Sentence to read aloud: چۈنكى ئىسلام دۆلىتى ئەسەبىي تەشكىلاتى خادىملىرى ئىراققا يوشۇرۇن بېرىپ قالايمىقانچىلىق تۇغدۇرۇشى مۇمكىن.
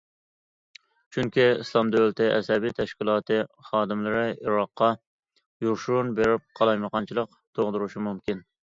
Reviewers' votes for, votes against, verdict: 2, 0, accepted